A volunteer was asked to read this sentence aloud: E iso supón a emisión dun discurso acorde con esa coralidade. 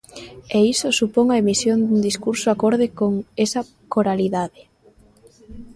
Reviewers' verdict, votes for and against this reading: accepted, 2, 0